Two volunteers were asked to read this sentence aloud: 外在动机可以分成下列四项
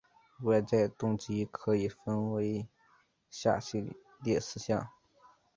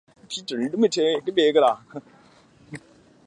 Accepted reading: second